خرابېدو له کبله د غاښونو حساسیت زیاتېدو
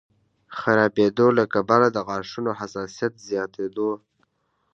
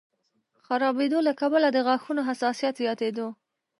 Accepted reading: first